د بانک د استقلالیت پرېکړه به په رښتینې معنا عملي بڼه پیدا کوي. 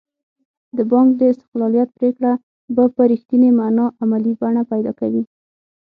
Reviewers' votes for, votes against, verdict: 6, 0, accepted